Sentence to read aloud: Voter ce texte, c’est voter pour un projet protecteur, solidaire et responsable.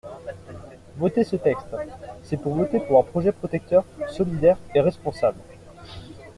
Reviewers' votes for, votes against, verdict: 0, 2, rejected